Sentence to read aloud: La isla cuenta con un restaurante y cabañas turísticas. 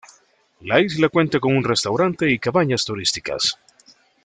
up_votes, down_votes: 2, 0